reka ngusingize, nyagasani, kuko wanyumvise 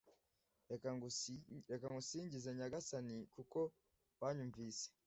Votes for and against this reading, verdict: 1, 2, rejected